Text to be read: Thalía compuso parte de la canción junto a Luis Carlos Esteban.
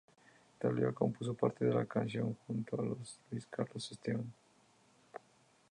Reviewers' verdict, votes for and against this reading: accepted, 2, 0